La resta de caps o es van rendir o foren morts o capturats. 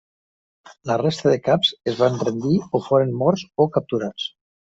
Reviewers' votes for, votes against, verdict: 2, 1, accepted